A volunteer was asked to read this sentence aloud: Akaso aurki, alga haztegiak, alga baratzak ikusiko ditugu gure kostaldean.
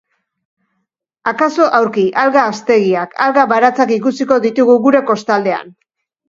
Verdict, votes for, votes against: accepted, 2, 1